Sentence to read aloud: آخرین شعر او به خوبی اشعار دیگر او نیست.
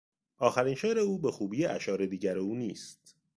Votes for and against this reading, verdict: 2, 0, accepted